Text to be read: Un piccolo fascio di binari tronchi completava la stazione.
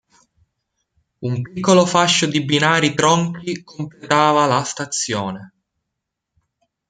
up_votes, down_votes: 0, 2